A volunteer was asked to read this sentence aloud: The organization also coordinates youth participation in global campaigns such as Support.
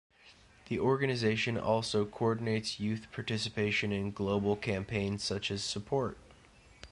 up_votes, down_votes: 2, 0